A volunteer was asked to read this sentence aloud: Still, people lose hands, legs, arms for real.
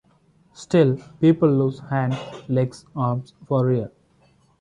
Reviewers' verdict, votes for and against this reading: accepted, 2, 1